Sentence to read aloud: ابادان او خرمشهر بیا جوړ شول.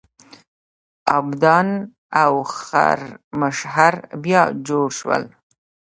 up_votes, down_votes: 0, 2